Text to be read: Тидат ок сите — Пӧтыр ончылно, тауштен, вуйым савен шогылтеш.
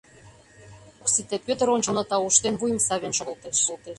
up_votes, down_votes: 0, 2